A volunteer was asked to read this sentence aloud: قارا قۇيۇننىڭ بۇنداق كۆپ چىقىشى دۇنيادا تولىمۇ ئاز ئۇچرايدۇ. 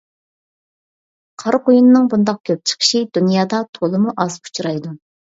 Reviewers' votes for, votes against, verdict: 2, 0, accepted